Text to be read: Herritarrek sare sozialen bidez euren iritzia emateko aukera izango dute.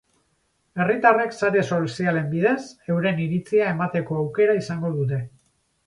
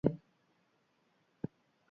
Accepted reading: first